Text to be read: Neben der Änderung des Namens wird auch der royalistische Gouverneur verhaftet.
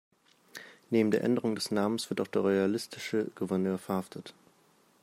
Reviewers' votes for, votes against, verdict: 2, 0, accepted